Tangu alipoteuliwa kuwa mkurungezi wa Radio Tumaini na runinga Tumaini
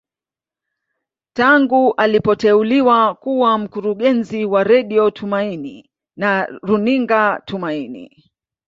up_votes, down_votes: 0, 2